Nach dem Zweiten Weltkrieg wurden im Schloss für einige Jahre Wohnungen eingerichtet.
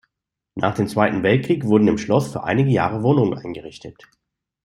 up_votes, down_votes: 2, 0